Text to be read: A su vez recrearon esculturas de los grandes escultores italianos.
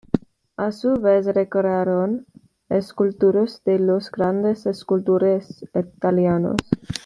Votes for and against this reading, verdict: 1, 2, rejected